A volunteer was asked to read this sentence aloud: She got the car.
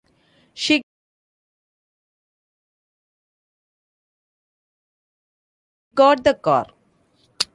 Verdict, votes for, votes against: rejected, 0, 2